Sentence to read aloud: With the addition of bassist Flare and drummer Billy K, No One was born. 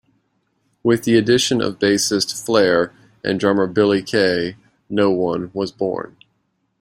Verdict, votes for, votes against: accepted, 2, 0